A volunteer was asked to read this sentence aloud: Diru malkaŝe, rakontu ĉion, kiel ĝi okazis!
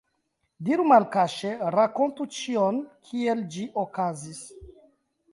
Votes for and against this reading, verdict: 1, 2, rejected